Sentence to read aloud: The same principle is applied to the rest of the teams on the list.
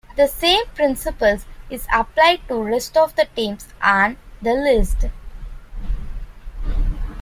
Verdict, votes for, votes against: rejected, 1, 2